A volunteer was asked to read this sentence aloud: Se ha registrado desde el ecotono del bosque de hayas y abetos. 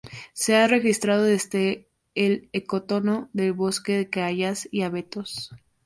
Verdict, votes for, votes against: rejected, 0, 4